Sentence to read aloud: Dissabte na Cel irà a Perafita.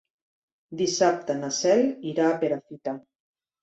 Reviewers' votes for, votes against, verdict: 3, 0, accepted